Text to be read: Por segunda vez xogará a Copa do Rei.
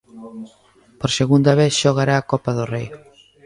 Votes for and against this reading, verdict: 2, 0, accepted